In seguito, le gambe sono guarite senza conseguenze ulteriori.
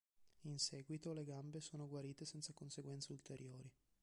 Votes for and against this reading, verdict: 2, 0, accepted